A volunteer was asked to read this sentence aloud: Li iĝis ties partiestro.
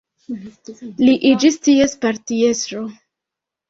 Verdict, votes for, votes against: rejected, 1, 2